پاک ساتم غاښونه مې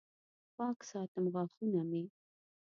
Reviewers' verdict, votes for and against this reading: rejected, 0, 2